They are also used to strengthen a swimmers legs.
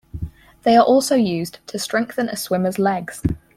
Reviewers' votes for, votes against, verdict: 6, 0, accepted